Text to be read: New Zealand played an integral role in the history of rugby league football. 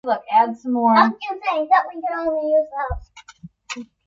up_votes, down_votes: 0, 2